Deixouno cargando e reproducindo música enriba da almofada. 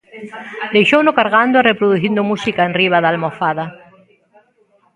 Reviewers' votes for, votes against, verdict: 1, 2, rejected